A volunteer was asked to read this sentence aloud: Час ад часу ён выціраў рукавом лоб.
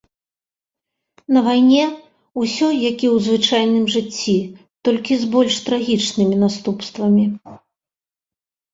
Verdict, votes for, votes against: rejected, 0, 2